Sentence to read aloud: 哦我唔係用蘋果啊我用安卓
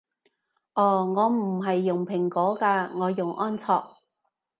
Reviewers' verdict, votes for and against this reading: rejected, 1, 2